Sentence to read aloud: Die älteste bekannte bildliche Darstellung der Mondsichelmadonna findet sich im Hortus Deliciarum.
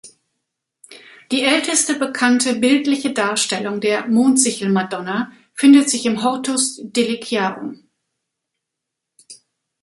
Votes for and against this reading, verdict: 3, 0, accepted